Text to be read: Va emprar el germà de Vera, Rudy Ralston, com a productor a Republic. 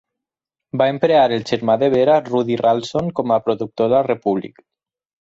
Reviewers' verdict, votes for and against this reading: rejected, 2, 4